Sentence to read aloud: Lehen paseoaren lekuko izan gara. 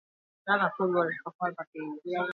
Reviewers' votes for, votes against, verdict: 0, 6, rejected